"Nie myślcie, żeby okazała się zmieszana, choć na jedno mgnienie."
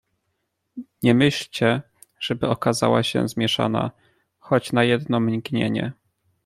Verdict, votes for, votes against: accepted, 2, 0